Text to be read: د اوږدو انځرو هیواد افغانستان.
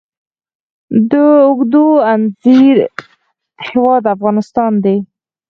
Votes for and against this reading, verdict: 2, 4, rejected